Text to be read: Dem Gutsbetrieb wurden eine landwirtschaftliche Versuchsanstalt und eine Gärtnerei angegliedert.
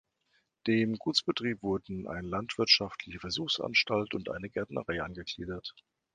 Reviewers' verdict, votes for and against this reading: rejected, 1, 3